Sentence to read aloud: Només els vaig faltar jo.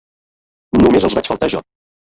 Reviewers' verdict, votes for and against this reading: rejected, 1, 2